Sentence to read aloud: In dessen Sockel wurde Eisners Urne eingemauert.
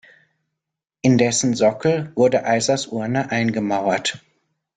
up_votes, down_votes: 0, 2